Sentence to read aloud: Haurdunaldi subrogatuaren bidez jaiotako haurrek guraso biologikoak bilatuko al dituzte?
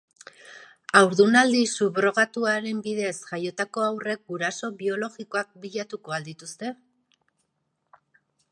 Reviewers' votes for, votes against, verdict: 3, 0, accepted